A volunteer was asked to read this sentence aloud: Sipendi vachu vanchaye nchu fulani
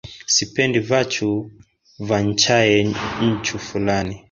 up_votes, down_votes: 1, 2